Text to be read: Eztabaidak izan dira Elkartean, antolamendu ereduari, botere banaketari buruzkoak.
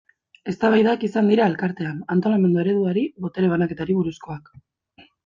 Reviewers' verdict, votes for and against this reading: rejected, 1, 2